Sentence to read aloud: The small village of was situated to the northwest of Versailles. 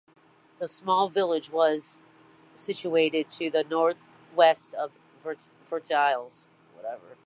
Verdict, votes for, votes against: rejected, 0, 2